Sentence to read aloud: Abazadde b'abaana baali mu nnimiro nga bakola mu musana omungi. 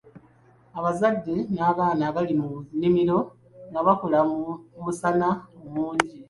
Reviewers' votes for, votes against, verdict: 1, 2, rejected